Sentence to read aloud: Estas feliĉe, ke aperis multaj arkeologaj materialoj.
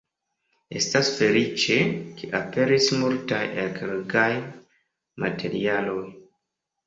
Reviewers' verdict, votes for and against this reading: rejected, 1, 2